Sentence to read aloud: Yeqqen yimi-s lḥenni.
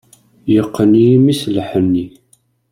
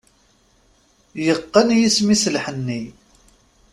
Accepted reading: first